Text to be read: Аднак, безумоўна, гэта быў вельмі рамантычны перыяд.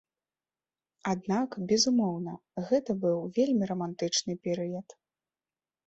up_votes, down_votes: 2, 0